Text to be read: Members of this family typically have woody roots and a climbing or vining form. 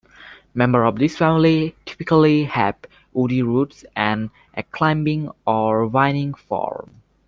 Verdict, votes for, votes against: accepted, 2, 1